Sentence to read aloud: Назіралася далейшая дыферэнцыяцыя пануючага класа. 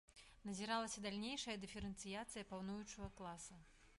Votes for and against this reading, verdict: 0, 2, rejected